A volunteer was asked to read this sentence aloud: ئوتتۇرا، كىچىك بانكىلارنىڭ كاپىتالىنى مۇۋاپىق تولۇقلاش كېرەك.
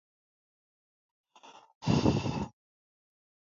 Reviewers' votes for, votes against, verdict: 0, 2, rejected